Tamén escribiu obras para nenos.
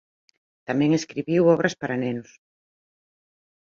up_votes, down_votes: 1, 2